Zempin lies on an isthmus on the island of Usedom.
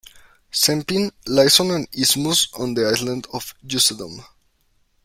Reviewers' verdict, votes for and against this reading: rejected, 1, 2